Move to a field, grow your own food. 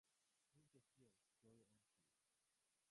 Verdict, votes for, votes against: rejected, 0, 3